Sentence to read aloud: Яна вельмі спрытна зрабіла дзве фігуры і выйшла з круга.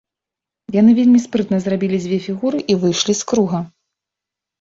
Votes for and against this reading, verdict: 0, 2, rejected